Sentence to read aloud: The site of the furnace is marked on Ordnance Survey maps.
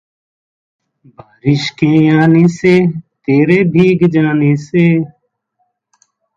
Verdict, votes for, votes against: rejected, 0, 2